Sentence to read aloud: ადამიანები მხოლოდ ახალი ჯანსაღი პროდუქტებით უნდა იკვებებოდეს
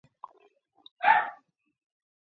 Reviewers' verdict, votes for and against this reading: rejected, 0, 2